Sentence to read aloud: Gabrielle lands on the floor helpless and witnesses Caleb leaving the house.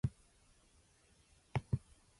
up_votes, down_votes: 0, 2